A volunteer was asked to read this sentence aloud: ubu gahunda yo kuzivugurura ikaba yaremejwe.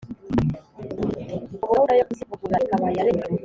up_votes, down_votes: 1, 2